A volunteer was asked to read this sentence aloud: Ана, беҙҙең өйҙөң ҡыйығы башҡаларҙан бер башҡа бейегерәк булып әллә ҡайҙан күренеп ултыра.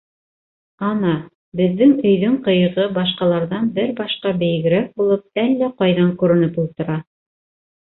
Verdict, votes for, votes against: accepted, 2, 1